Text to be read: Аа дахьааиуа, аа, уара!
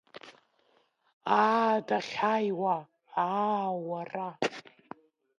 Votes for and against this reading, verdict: 0, 2, rejected